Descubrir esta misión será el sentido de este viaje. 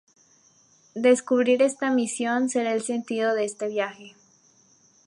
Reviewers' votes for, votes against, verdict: 2, 0, accepted